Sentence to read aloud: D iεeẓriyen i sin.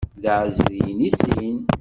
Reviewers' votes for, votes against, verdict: 1, 2, rejected